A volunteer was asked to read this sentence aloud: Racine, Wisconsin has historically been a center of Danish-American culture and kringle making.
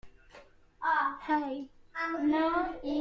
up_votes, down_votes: 0, 3